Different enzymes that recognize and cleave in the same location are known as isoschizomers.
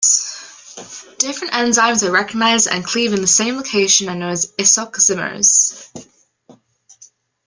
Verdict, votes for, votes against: rejected, 0, 2